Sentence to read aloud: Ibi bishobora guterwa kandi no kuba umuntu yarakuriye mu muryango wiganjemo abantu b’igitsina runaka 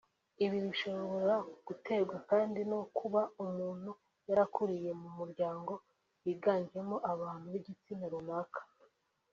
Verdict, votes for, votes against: accepted, 3, 0